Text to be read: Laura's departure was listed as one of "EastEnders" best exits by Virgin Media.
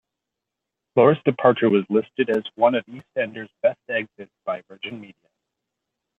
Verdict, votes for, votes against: rejected, 0, 2